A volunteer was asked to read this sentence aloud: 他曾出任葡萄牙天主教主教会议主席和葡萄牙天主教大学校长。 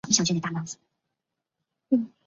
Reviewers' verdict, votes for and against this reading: rejected, 0, 2